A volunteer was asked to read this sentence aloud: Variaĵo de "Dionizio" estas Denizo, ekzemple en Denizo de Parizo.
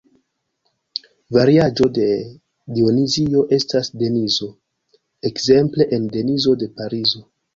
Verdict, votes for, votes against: rejected, 1, 2